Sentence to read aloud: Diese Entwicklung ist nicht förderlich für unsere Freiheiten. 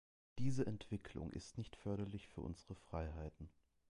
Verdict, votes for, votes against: accepted, 2, 0